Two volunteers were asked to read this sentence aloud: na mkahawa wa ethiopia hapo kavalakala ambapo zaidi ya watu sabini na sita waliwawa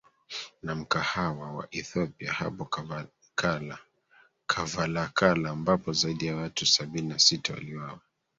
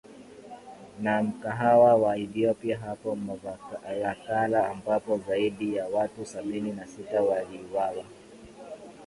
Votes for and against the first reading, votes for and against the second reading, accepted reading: 1, 2, 14, 2, second